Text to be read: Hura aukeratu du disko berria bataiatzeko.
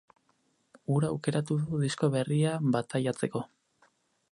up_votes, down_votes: 4, 0